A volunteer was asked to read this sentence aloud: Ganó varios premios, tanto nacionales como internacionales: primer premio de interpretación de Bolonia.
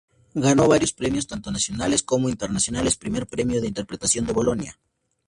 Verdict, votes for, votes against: accepted, 2, 0